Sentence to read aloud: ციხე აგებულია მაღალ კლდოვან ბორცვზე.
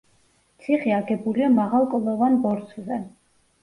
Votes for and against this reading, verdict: 2, 0, accepted